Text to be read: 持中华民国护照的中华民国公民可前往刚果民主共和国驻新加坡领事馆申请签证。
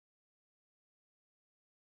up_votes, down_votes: 2, 3